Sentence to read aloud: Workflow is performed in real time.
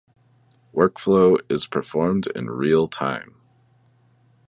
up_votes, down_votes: 2, 0